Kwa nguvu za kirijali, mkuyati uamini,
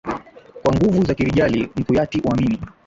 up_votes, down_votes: 2, 1